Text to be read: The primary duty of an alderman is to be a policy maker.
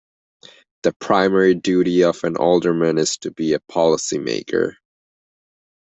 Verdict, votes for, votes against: accepted, 2, 0